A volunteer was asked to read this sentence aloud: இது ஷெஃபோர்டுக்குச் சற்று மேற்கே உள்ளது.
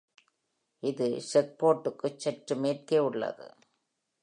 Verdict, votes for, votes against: accepted, 2, 0